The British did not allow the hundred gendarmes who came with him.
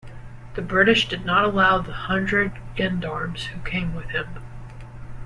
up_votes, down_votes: 1, 2